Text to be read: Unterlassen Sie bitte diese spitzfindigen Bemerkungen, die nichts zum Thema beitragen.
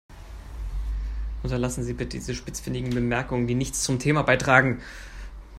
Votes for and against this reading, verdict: 4, 2, accepted